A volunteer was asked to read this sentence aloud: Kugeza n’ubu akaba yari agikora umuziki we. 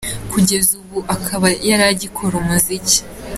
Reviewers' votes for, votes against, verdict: 0, 2, rejected